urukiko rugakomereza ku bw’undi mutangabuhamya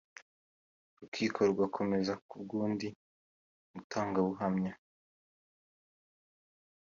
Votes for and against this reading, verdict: 2, 0, accepted